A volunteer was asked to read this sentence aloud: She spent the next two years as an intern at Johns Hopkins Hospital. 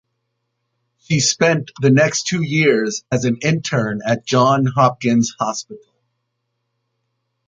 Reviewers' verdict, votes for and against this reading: accepted, 2, 1